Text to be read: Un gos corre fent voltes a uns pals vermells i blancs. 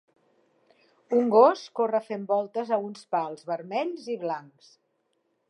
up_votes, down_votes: 4, 0